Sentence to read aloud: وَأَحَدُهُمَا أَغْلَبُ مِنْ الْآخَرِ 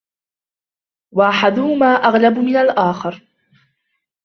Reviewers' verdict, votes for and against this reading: accepted, 2, 0